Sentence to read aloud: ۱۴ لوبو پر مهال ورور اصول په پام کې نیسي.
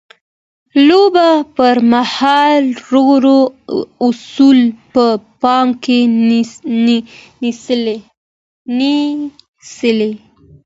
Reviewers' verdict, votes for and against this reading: rejected, 0, 2